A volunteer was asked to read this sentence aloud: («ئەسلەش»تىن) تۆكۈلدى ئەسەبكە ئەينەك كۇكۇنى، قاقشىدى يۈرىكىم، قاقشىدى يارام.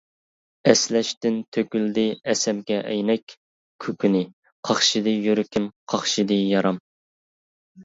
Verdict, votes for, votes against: rejected, 1, 2